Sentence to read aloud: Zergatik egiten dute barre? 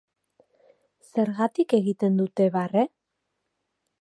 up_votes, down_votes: 3, 0